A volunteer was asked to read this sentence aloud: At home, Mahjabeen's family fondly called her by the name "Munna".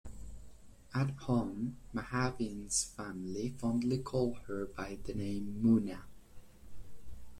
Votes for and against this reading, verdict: 2, 1, accepted